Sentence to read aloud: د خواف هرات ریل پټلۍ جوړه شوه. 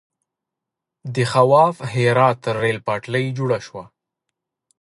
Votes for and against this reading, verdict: 2, 0, accepted